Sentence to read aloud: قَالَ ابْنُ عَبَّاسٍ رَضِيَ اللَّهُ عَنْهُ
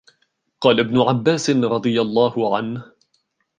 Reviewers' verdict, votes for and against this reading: accepted, 2, 0